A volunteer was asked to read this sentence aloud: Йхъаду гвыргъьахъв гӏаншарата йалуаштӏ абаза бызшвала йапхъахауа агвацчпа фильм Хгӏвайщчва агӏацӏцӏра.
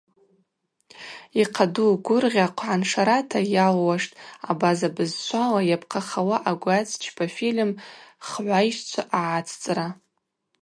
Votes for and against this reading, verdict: 2, 2, rejected